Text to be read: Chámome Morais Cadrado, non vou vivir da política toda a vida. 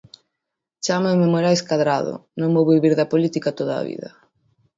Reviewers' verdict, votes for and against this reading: rejected, 0, 2